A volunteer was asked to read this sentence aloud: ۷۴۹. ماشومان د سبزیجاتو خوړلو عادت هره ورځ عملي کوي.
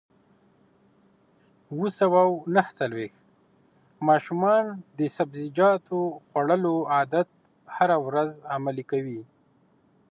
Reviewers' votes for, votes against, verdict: 0, 2, rejected